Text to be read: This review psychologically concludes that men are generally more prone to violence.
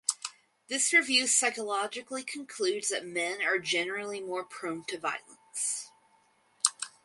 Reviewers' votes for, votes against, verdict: 4, 0, accepted